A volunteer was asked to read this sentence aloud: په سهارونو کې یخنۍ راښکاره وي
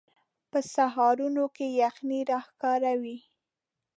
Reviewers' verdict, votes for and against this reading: rejected, 0, 2